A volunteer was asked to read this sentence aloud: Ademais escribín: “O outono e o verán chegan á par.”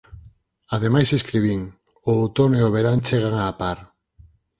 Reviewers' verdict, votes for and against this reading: accepted, 4, 0